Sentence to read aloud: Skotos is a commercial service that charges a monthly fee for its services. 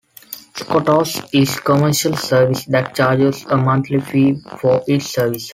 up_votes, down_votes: 2, 0